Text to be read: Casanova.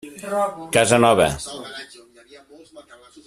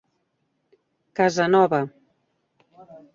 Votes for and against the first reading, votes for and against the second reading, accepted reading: 0, 2, 2, 0, second